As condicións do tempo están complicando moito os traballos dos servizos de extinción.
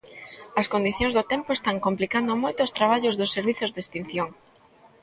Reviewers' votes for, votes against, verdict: 1, 2, rejected